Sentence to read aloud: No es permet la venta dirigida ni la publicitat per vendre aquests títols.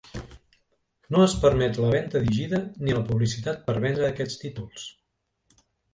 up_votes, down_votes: 0, 2